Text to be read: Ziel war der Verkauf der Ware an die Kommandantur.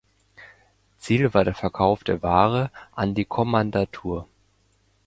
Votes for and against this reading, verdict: 2, 1, accepted